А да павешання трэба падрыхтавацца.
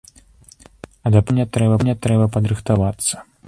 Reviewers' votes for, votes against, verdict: 0, 2, rejected